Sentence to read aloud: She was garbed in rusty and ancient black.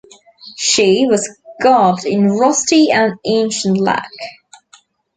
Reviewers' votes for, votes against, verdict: 1, 2, rejected